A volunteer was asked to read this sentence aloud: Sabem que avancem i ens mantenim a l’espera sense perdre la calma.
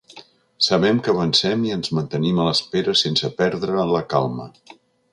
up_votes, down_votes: 3, 0